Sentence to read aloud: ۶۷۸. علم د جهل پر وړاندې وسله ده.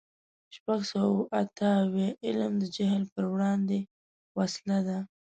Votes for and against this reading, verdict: 0, 2, rejected